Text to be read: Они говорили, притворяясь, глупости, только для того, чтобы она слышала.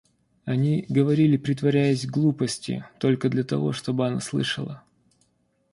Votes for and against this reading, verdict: 1, 2, rejected